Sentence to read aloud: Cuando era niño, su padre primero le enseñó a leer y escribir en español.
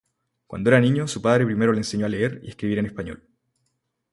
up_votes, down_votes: 2, 0